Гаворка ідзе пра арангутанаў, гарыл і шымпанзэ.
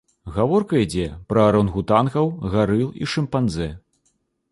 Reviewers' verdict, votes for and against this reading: rejected, 0, 2